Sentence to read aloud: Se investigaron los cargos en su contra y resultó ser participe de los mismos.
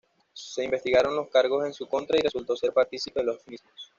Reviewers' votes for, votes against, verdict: 2, 0, accepted